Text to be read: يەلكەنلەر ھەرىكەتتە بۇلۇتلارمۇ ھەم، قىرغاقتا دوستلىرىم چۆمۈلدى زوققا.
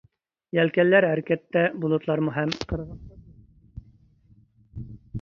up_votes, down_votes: 0, 2